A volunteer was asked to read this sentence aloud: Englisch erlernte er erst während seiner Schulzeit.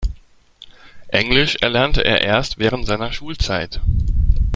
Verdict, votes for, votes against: accepted, 2, 0